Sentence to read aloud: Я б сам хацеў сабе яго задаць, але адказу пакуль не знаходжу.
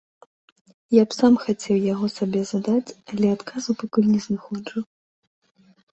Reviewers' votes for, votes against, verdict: 0, 2, rejected